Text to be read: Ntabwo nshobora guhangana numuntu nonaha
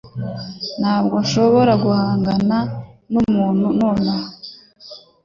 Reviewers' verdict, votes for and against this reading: accepted, 2, 0